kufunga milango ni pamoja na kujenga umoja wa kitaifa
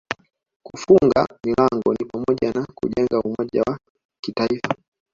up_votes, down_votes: 0, 2